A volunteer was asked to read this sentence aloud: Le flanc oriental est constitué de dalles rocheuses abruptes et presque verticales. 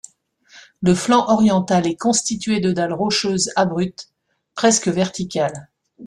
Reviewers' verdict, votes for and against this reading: rejected, 0, 2